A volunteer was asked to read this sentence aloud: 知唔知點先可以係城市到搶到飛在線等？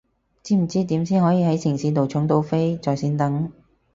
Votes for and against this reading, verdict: 2, 2, rejected